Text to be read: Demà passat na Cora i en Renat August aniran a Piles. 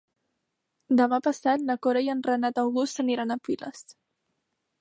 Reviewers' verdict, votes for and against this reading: accepted, 3, 0